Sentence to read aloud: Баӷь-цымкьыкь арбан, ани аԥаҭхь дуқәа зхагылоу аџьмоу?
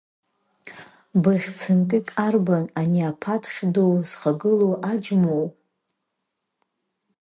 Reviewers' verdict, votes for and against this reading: rejected, 1, 2